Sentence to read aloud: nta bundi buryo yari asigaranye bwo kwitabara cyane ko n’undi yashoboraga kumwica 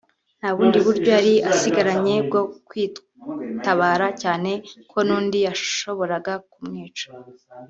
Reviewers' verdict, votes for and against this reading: rejected, 0, 2